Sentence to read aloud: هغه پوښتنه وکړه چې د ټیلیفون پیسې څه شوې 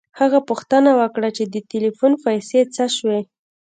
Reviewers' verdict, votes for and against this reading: accepted, 2, 0